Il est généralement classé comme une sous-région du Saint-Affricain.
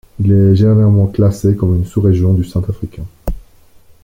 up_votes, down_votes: 1, 2